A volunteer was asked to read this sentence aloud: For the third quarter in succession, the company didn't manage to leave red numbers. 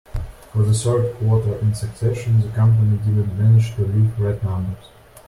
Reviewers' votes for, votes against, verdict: 2, 1, accepted